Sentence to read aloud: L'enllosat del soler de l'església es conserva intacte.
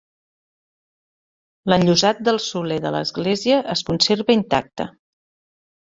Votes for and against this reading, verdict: 4, 0, accepted